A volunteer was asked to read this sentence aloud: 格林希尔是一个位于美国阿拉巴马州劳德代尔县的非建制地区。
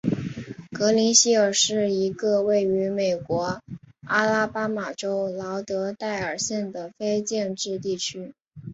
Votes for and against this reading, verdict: 7, 0, accepted